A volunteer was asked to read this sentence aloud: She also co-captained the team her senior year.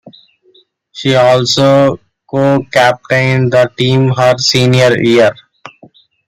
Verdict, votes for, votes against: accepted, 2, 1